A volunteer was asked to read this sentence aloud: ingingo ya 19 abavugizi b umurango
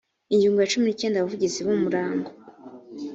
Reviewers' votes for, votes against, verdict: 0, 2, rejected